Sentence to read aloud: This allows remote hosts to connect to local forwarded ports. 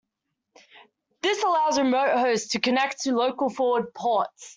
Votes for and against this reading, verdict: 0, 2, rejected